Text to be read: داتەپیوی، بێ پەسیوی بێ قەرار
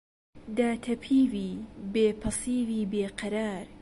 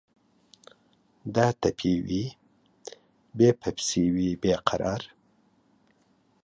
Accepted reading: first